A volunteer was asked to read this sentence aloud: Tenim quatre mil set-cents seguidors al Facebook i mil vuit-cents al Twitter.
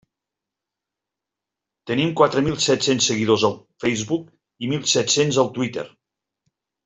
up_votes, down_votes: 0, 2